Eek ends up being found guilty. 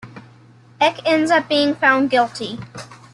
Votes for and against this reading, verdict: 2, 0, accepted